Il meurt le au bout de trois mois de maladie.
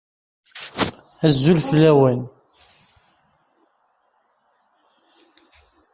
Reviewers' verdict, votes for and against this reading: rejected, 0, 2